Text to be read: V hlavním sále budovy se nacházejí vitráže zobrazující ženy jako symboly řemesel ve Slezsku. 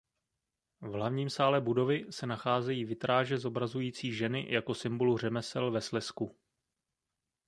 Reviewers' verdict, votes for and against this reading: rejected, 0, 2